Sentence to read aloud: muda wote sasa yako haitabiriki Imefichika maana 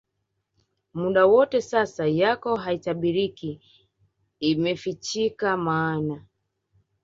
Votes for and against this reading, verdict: 3, 2, accepted